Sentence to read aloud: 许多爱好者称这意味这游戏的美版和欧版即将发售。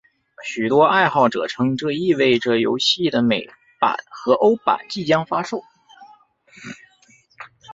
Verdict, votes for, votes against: rejected, 0, 2